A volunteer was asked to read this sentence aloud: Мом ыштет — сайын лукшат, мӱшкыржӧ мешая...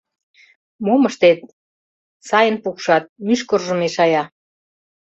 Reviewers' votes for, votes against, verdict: 0, 2, rejected